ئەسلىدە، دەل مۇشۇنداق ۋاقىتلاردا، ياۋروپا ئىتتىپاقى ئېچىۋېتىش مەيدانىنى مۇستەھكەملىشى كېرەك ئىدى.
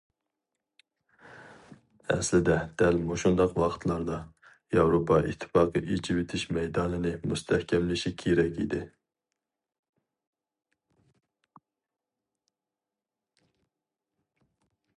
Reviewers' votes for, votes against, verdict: 2, 0, accepted